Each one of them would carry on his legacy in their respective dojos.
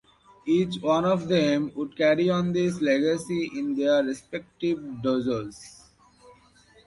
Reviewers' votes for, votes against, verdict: 1, 2, rejected